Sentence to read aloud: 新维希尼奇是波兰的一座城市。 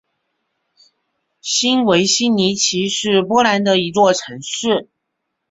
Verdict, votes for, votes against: accepted, 4, 0